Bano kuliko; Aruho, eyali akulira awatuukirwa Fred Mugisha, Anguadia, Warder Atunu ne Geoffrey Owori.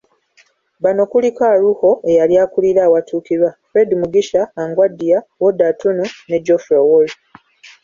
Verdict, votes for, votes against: accepted, 2, 0